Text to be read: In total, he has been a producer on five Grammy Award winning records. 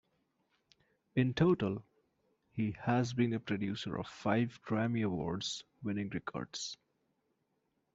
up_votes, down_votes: 0, 2